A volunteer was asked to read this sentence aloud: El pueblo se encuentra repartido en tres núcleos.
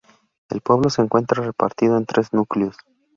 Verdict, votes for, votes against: accepted, 2, 0